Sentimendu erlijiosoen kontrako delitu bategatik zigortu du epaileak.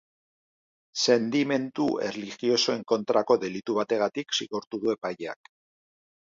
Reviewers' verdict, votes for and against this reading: accepted, 3, 0